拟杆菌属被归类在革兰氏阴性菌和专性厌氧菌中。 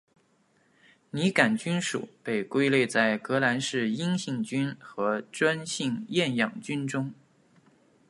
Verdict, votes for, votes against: accepted, 2, 0